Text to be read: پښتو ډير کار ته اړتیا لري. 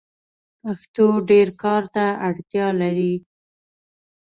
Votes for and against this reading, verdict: 2, 0, accepted